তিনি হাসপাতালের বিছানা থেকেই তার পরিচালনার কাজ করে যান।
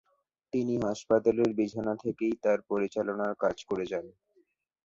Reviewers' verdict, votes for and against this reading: rejected, 0, 2